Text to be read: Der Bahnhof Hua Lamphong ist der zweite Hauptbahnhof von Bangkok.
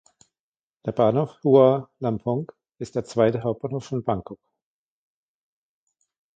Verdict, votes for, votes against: accepted, 2, 1